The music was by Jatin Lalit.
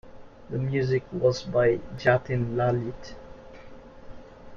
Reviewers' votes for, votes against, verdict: 1, 2, rejected